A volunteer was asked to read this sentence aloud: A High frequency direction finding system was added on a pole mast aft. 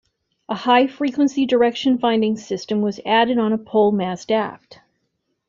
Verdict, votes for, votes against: accepted, 2, 0